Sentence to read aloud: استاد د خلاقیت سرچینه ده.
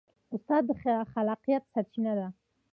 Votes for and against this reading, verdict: 0, 2, rejected